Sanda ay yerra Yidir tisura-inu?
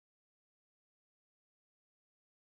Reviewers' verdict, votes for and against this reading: rejected, 0, 2